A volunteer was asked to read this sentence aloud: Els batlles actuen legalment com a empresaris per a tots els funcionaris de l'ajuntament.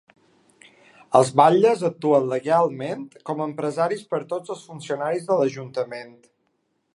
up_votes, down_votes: 2, 3